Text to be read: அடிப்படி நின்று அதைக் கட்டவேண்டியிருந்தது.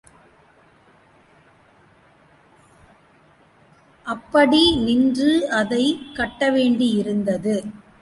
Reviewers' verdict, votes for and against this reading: rejected, 1, 2